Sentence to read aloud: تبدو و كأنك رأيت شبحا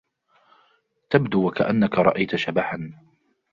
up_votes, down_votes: 2, 0